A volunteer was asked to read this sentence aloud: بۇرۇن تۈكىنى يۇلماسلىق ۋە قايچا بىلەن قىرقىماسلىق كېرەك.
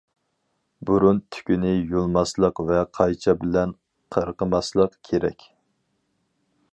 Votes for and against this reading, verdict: 4, 0, accepted